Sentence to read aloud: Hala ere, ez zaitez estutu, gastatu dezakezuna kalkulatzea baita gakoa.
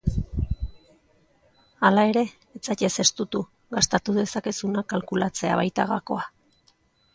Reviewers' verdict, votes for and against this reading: rejected, 0, 2